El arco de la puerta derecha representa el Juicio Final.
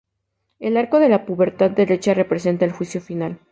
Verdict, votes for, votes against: accepted, 2, 0